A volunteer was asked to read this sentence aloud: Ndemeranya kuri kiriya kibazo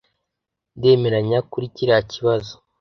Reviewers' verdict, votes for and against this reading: accepted, 2, 0